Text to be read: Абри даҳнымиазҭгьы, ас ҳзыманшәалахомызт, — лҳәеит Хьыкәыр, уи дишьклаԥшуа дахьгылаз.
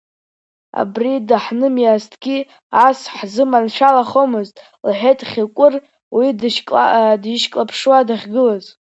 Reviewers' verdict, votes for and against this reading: rejected, 1, 2